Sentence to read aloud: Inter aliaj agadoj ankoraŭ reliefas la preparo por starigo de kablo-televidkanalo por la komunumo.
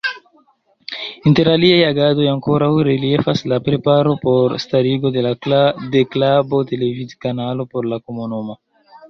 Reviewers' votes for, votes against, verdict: 0, 2, rejected